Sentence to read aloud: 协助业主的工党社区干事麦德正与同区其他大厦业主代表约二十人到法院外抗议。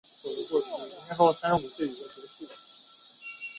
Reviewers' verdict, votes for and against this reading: rejected, 0, 2